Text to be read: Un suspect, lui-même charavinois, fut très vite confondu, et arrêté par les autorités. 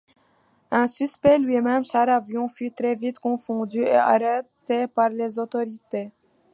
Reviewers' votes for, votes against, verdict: 1, 2, rejected